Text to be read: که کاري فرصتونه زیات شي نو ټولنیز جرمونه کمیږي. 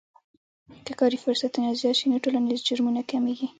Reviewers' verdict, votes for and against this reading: rejected, 0, 2